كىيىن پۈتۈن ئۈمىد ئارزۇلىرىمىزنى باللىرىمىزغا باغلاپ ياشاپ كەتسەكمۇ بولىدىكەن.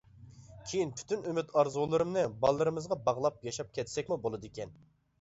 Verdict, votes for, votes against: rejected, 1, 2